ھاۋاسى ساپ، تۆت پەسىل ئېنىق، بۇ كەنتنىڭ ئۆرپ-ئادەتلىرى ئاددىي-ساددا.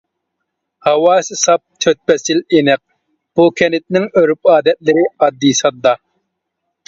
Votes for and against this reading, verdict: 2, 0, accepted